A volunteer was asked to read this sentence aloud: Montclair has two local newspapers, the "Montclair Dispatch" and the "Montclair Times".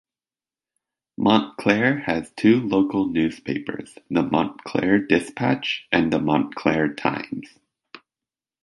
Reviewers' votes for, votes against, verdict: 2, 1, accepted